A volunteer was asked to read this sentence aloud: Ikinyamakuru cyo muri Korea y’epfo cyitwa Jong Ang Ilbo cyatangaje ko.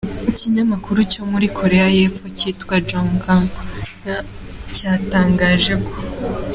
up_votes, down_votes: 2, 0